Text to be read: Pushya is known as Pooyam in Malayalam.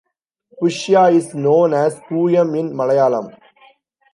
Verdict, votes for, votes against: rejected, 0, 2